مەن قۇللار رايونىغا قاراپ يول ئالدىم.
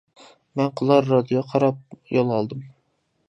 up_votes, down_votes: 0, 2